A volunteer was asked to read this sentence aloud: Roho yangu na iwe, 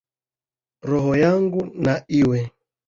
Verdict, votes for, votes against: accepted, 2, 1